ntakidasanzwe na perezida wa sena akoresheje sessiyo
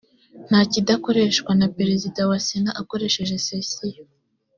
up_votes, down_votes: 1, 2